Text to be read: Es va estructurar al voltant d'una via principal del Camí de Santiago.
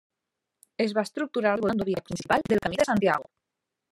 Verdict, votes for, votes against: rejected, 0, 2